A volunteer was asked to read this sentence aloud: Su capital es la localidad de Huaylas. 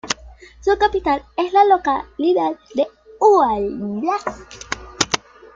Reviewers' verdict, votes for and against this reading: rejected, 1, 2